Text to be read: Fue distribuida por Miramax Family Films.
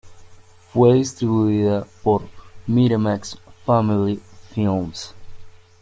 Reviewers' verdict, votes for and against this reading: accepted, 2, 0